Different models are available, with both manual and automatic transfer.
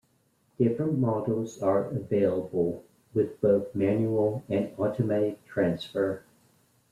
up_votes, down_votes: 2, 0